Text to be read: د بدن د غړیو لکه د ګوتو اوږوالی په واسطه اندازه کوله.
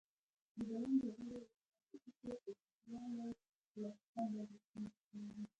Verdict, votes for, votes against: rejected, 0, 2